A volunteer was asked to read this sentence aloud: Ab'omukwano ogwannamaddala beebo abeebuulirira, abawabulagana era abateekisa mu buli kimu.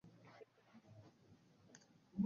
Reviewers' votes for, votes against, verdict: 1, 2, rejected